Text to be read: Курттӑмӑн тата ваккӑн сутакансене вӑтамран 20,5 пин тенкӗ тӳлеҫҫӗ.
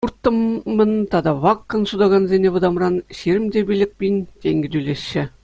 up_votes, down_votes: 0, 2